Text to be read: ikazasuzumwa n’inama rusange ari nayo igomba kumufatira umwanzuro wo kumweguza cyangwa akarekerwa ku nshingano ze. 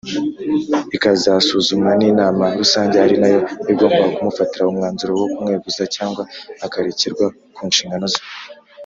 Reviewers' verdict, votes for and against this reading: accepted, 3, 1